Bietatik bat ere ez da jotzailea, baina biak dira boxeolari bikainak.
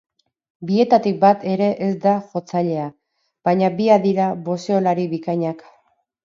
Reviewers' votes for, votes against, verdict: 2, 2, rejected